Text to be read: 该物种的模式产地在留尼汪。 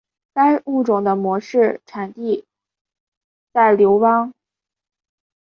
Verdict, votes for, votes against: rejected, 1, 4